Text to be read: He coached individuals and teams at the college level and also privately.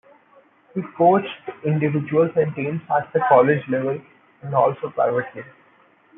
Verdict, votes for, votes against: accepted, 2, 1